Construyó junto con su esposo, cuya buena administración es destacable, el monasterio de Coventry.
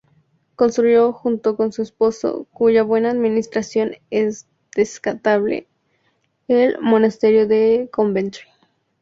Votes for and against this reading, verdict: 0, 2, rejected